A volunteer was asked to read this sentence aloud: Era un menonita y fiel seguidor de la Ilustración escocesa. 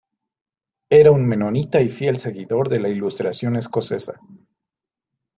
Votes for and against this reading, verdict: 2, 0, accepted